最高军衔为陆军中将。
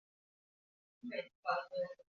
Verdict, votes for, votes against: rejected, 0, 3